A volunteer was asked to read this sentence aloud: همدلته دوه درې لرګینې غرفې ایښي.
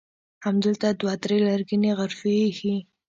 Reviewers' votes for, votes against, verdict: 1, 2, rejected